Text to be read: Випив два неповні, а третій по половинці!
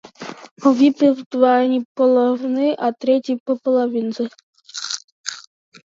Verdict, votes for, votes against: rejected, 0, 2